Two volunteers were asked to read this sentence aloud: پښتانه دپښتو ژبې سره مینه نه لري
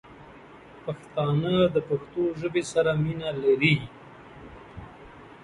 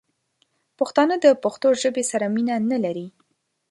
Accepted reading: second